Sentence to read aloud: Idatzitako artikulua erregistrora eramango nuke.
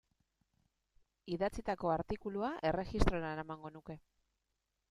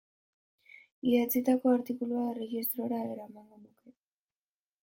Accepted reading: first